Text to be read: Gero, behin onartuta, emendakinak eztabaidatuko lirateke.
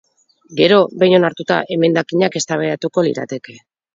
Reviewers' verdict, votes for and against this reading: rejected, 0, 4